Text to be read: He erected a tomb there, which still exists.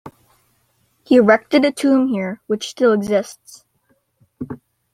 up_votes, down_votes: 0, 2